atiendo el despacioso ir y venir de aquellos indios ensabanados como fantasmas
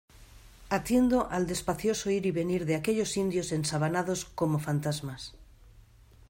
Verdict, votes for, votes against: rejected, 1, 2